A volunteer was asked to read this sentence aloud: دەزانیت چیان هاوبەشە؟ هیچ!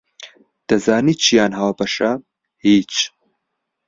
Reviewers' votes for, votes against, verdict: 0, 2, rejected